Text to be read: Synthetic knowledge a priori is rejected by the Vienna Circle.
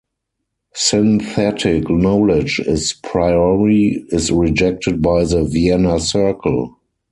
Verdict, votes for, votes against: rejected, 0, 4